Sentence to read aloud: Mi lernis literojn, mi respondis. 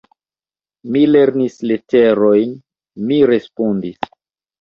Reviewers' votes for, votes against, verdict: 0, 2, rejected